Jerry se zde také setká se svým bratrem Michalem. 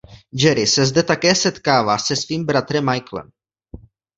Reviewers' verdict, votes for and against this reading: rejected, 0, 2